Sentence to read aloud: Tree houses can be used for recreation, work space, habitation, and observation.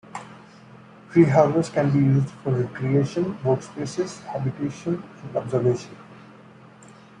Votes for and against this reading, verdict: 2, 1, accepted